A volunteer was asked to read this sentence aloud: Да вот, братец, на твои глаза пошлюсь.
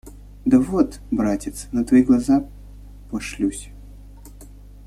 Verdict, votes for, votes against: rejected, 1, 2